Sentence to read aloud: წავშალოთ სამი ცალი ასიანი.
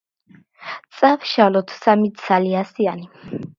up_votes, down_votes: 1, 2